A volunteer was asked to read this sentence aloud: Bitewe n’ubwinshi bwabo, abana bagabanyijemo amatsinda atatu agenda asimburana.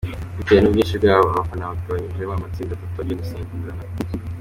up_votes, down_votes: 2, 0